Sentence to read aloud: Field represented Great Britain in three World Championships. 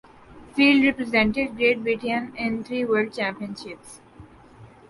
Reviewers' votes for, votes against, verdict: 0, 2, rejected